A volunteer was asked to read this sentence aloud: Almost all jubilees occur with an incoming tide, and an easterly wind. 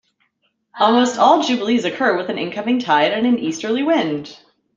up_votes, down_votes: 2, 0